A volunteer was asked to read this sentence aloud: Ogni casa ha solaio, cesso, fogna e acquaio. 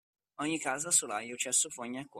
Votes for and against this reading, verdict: 1, 2, rejected